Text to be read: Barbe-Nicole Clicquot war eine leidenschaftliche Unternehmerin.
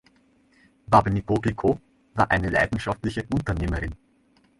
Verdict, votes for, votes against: rejected, 0, 2